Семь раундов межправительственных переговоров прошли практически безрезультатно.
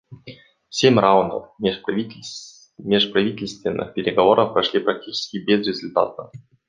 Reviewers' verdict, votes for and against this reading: rejected, 0, 2